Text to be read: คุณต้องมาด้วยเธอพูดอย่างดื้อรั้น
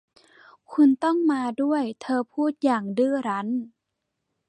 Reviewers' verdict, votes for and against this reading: accepted, 2, 0